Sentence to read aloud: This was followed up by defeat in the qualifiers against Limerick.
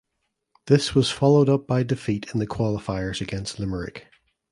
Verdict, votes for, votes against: accepted, 2, 0